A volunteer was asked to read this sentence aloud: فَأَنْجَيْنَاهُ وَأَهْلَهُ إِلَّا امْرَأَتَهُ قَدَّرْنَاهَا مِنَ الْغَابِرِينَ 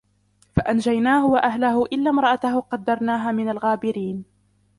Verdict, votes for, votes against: rejected, 1, 2